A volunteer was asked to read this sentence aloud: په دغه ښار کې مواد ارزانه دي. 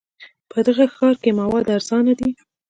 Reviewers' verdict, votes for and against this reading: rejected, 1, 2